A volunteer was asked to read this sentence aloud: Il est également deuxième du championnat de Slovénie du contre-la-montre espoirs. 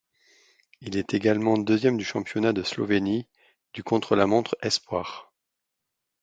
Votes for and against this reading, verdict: 2, 0, accepted